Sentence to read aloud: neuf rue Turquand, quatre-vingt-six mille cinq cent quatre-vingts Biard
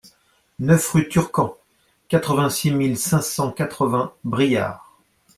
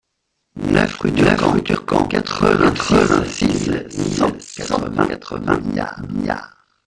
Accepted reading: first